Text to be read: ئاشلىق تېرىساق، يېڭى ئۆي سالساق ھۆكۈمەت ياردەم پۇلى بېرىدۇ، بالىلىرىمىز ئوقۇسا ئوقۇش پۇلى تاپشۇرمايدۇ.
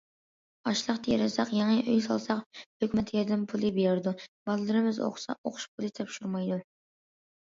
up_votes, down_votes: 2, 0